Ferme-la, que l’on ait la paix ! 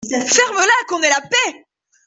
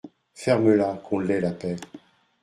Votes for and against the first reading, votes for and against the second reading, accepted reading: 1, 2, 2, 1, second